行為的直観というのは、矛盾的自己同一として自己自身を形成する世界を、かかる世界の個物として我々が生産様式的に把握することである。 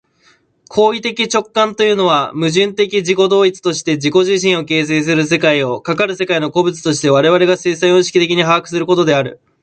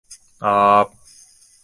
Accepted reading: first